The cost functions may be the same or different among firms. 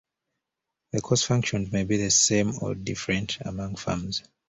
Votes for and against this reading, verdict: 1, 2, rejected